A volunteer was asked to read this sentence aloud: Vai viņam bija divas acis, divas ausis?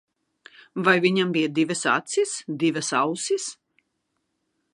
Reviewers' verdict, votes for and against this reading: accepted, 2, 0